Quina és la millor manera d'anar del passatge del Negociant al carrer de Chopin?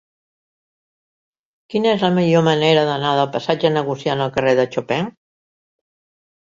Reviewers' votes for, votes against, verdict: 1, 2, rejected